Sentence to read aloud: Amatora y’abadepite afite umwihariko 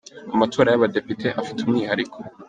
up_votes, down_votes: 2, 0